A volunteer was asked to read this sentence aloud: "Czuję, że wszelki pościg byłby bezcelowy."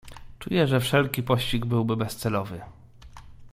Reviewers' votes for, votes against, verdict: 2, 0, accepted